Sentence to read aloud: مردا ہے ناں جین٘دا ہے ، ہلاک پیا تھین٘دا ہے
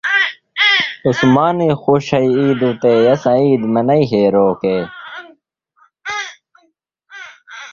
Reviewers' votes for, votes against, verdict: 0, 2, rejected